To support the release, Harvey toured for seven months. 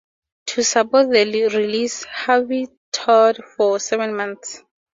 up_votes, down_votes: 2, 2